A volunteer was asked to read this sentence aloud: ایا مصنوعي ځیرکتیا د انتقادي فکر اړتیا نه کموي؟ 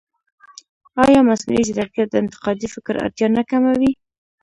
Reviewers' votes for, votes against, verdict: 0, 2, rejected